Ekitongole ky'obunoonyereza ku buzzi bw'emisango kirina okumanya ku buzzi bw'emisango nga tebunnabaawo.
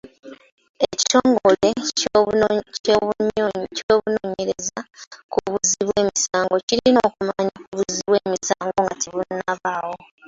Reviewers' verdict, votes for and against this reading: rejected, 1, 2